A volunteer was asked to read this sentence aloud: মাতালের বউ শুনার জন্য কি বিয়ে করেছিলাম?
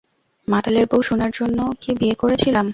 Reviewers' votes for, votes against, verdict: 2, 0, accepted